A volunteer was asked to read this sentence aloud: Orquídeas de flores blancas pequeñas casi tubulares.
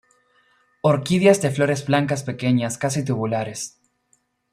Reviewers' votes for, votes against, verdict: 2, 0, accepted